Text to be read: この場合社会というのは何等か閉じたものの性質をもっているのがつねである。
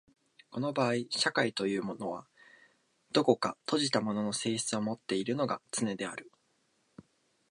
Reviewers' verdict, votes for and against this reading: rejected, 0, 2